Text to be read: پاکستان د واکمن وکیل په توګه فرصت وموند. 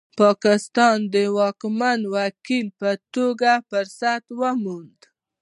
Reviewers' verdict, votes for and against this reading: accepted, 2, 0